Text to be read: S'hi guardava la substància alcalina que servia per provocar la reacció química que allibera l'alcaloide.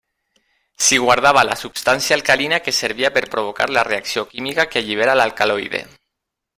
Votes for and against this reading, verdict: 3, 0, accepted